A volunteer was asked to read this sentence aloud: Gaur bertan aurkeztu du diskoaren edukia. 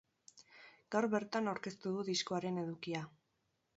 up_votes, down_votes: 4, 0